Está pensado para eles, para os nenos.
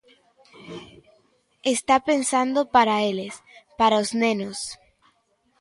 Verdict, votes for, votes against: rejected, 0, 2